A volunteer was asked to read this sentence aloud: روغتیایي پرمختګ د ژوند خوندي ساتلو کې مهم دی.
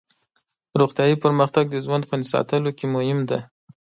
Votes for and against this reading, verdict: 8, 0, accepted